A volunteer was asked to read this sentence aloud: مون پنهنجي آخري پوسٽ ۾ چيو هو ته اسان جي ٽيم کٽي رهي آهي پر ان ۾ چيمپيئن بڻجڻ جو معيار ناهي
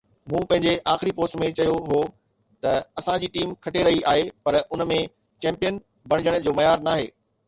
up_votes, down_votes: 2, 0